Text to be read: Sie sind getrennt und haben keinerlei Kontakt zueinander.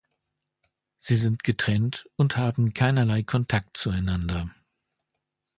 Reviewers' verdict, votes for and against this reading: accepted, 2, 0